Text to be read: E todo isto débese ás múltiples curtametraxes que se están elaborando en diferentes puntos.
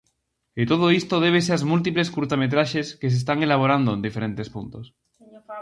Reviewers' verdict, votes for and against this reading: rejected, 0, 4